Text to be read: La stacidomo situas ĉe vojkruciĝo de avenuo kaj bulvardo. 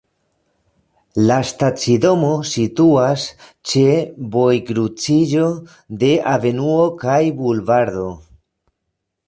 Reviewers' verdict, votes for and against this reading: accepted, 2, 0